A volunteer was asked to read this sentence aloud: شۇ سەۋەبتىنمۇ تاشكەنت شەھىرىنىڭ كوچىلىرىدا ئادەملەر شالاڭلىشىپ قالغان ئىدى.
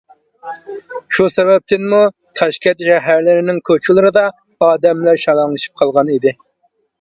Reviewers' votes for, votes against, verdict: 0, 2, rejected